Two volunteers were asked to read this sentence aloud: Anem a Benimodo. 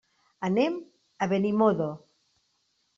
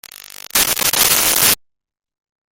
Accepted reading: first